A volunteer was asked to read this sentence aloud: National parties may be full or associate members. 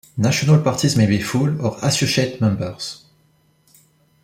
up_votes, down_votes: 1, 2